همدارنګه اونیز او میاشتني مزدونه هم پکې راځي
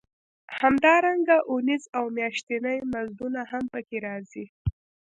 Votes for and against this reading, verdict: 2, 0, accepted